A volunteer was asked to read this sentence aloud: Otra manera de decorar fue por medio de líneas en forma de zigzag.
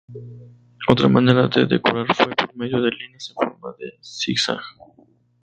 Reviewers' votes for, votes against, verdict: 0, 2, rejected